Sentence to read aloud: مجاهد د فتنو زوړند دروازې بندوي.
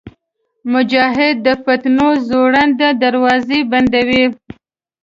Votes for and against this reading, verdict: 1, 2, rejected